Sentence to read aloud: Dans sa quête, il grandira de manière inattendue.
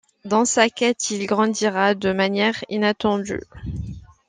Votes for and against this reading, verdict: 2, 0, accepted